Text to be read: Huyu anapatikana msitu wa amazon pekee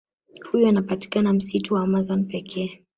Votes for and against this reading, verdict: 0, 2, rejected